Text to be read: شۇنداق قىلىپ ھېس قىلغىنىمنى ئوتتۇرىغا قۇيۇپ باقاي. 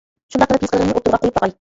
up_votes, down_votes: 1, 2